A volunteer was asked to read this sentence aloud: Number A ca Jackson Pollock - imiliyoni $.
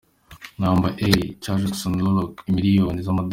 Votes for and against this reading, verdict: 2, 0, accepted